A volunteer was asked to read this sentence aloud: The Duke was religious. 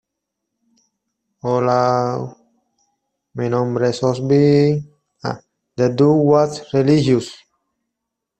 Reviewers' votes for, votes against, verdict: 0, 2, rejected